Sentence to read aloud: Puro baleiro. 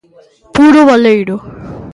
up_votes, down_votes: 2, 0